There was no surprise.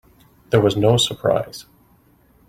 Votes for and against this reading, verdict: 3, 0, accepted